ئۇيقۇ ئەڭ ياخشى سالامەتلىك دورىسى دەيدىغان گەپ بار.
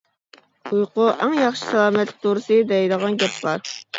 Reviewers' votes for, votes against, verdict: 0, 2, rejected